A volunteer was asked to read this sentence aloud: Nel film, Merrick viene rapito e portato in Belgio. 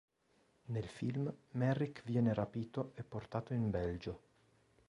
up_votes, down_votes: 3, 0